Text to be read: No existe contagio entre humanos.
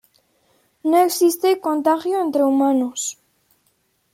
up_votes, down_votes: 2, 1